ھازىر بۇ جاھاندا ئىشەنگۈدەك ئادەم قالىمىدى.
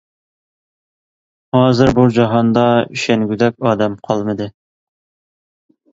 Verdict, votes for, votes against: accepted, 2, 0